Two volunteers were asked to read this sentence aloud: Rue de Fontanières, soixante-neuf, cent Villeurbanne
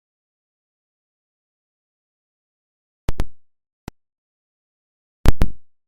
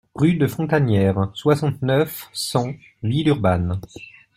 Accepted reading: second